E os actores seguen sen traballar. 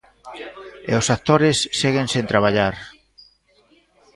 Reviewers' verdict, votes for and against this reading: accepted, 2, 0